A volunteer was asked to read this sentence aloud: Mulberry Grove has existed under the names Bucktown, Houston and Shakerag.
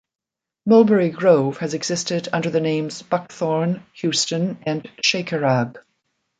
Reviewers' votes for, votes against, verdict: 0, 2, rejected